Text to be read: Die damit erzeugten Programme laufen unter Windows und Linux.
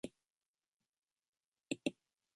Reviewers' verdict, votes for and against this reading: rejected, 0, 2